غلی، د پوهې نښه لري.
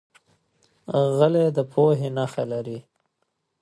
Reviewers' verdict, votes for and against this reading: accepted, 2, 0